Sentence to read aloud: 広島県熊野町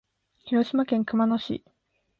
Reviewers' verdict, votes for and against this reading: rejected, 2, 3